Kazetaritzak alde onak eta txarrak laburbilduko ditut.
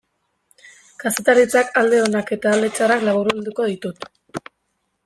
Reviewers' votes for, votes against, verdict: 0, 2, rejected